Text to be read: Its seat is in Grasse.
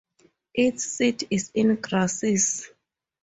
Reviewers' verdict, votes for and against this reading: rejected, 0, 4